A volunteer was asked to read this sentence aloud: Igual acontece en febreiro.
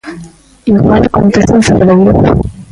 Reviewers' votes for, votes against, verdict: 0, 2, rejected